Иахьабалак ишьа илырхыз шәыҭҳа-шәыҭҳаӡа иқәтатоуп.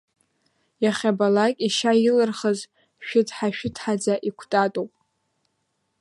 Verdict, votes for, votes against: rejected, 1, 2